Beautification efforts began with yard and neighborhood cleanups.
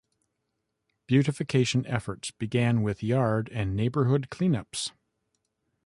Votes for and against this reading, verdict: 2, 0, accepted